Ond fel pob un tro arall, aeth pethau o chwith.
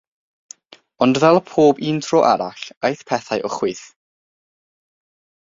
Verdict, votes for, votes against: accepted, 6, 0